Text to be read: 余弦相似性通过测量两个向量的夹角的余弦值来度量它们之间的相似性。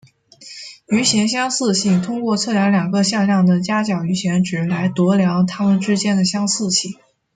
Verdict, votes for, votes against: rejected, 1, 2